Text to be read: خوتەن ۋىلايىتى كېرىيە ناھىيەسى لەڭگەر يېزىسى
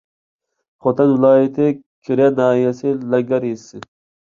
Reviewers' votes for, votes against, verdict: 2, 0, accepted